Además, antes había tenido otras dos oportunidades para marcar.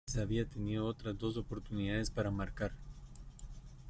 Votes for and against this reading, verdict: 0, 2, rejected